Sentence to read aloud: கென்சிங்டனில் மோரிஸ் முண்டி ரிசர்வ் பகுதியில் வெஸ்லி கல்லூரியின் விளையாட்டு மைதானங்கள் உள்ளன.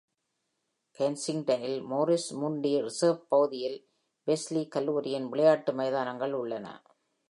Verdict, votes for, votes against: accepted, 2, 0